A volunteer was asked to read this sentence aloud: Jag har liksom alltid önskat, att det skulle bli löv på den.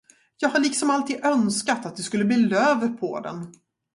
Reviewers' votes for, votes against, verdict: 0, 2, rejected